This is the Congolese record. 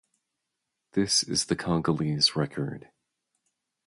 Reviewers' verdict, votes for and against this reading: rejected, 0, 2